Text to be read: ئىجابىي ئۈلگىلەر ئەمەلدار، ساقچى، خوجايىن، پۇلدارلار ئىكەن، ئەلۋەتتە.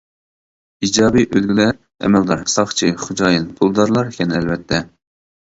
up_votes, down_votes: 1, 2